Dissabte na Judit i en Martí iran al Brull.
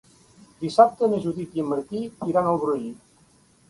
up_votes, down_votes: 2, 0